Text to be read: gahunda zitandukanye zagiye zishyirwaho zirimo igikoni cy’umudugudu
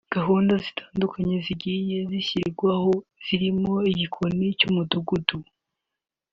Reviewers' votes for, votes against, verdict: 0, 2, rejected